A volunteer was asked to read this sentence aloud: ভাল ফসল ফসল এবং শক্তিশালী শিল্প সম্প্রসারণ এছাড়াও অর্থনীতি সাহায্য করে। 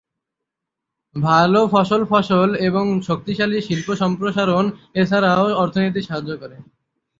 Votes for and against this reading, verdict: 0, 3, rejected